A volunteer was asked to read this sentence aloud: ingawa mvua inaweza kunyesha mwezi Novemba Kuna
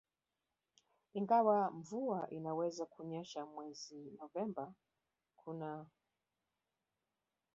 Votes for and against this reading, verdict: 1, 3, rejected